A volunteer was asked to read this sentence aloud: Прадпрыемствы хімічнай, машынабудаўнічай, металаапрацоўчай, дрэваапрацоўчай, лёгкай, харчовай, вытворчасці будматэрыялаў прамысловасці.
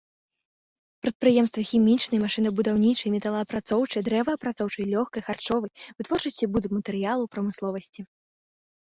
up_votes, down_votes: 2, 0